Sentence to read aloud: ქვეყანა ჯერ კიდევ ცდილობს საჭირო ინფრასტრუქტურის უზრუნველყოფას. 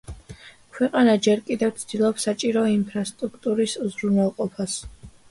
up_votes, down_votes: 2, 0